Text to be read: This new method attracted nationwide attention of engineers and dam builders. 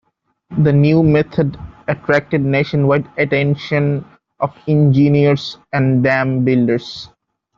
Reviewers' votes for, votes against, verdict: 1, 2, rejected